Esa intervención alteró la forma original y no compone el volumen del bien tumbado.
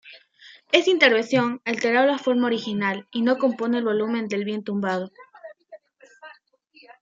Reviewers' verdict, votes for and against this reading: rejected, 1, 2